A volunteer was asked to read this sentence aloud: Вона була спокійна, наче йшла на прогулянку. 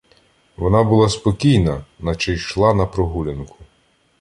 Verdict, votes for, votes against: accepted, 2, 0